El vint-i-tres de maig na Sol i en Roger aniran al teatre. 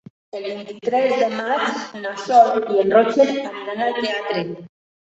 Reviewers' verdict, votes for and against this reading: rejected, 1, 5